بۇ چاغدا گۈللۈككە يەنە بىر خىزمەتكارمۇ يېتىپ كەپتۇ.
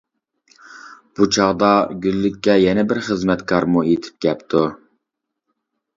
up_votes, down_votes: 2, 0